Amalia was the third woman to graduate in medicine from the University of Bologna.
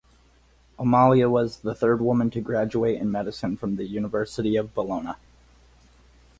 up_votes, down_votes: 4, 0